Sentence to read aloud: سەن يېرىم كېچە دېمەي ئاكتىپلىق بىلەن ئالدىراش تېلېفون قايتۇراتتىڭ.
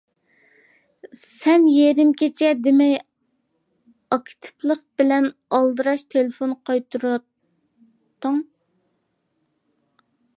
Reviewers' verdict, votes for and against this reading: accepted, 2, 0